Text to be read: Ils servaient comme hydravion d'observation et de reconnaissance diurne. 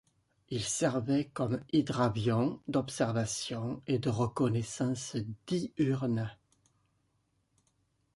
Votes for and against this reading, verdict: 0, 2, rejected